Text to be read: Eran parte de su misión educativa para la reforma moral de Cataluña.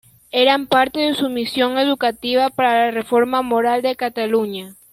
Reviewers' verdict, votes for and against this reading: accepted, 2, 1